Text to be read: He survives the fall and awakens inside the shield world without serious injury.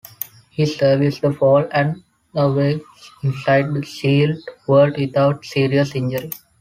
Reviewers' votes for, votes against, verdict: 0, 2, rejected